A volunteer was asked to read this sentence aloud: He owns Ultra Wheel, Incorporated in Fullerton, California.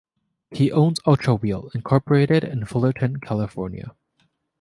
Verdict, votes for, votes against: accepted, 2, 0